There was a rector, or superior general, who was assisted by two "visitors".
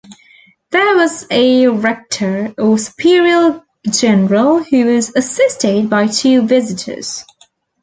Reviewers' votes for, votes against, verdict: 1, 2, rejected